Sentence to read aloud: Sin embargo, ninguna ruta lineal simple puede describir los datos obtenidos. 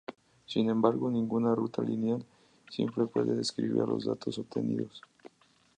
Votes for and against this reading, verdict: 0, 4, rejected